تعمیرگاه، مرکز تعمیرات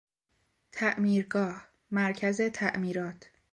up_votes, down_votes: 2, 0